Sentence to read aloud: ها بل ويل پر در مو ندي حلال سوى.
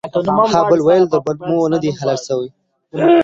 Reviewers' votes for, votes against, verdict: 1, 2, rejected